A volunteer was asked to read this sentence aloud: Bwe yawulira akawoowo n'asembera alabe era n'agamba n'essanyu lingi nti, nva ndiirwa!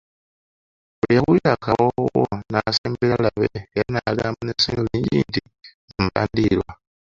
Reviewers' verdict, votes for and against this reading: rejected, 0, 2